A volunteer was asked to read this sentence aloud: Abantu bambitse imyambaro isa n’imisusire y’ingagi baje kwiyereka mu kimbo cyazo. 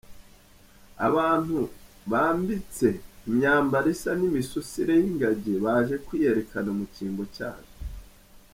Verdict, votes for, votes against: rejected, 1, 2